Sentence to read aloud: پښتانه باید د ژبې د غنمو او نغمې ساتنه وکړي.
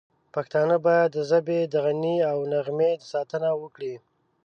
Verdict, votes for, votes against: rejected, 0, 2